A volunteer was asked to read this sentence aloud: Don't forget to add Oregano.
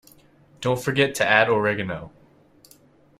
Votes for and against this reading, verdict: 2, 0, accepted